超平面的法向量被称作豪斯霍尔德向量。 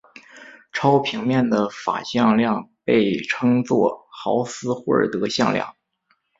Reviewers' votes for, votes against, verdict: 3, 0, accepted